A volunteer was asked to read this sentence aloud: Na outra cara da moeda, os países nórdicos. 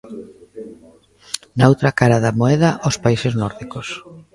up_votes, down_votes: 1, 2